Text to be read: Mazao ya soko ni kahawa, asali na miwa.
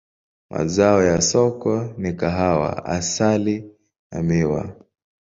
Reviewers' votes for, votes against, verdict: 2, 0, accepted